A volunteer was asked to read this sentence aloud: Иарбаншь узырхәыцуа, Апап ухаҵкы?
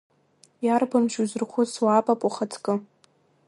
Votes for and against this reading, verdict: 2, 0, accepted